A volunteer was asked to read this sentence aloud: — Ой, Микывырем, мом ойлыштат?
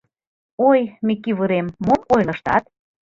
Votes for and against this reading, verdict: 0, 2, rejected